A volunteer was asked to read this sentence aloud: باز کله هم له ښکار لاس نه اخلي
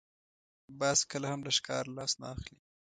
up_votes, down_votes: 2, 1